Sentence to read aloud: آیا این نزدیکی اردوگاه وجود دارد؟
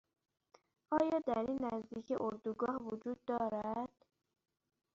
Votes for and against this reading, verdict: 1, 2, rejected